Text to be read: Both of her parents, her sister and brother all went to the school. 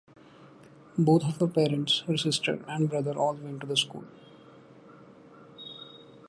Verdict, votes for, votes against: rejected, 0, 2